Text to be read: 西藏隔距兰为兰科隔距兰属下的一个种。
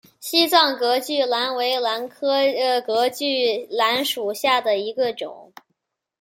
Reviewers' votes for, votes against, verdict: 0, 2, rejected